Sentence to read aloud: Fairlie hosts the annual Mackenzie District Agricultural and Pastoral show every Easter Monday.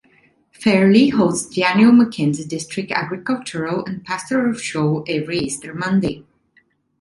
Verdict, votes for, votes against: accepted, 2, 0